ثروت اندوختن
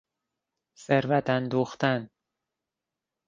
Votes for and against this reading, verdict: 3, 0, accepted